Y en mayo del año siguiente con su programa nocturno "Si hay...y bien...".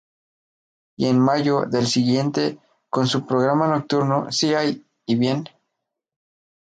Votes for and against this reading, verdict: 2, 0, accepted